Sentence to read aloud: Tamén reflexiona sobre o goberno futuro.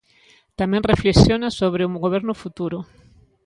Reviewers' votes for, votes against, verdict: 1, 2, rejected